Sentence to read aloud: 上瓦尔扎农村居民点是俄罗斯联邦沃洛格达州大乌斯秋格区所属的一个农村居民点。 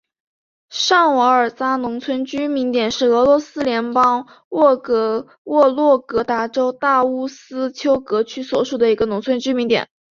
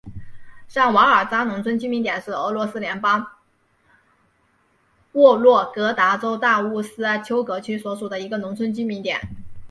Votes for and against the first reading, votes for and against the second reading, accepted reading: 7, 0, 0, 2, first